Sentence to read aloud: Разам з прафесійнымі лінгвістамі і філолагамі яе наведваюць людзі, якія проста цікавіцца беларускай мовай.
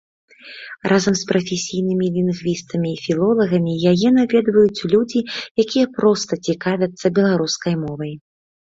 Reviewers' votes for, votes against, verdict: 2, 0, accepted